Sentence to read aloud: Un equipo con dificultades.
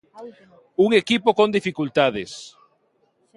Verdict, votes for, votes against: rejected, 0, 2